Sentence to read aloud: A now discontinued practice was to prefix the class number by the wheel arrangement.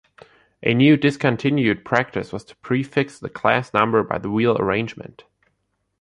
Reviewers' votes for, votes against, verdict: 2, 3, rejected